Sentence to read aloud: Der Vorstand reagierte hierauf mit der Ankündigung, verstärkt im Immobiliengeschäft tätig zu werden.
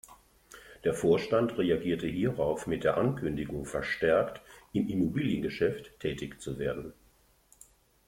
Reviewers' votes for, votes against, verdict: 2, 0, accepted